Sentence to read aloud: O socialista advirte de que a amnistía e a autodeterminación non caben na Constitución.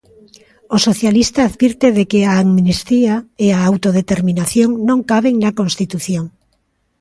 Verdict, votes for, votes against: accepted, 2, 0